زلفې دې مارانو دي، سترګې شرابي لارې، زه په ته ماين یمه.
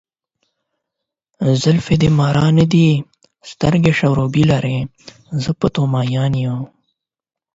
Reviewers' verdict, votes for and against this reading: accepted, 12, 0